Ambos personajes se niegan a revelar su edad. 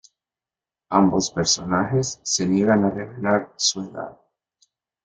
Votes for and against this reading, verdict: 0, 2, rejected